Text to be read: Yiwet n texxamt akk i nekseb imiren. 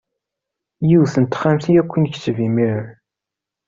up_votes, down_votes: 2, 0